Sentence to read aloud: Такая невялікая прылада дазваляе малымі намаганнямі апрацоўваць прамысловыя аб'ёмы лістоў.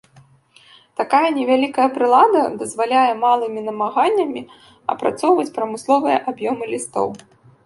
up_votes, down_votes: 2, 1